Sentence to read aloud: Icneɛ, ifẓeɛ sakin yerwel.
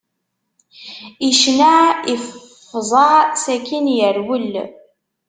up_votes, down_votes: 1, 2